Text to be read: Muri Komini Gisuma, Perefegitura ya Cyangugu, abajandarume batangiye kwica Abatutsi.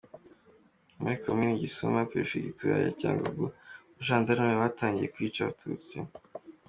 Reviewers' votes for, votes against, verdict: 2, 1, accepted